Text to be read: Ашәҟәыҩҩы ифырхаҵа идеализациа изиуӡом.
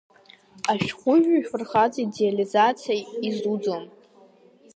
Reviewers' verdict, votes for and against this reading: accepted, 2, 1